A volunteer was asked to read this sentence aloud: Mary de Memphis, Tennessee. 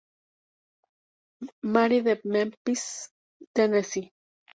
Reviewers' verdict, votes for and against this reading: rejected, 0, 2